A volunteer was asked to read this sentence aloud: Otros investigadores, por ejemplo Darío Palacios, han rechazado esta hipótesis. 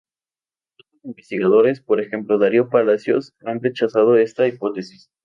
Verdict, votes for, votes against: rejected, 0, 2